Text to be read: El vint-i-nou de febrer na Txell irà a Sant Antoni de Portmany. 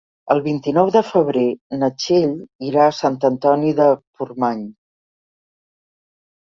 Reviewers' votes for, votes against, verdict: 3, 0, accepted